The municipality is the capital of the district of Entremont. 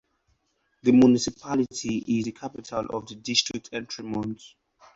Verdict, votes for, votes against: accepted, 4, 0